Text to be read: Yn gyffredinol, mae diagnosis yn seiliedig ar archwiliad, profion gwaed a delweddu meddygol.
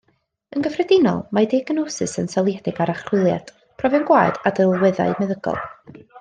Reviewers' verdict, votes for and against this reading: rejected, 0, 2